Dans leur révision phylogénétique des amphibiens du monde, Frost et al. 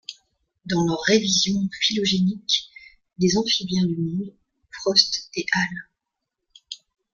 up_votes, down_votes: 0, 2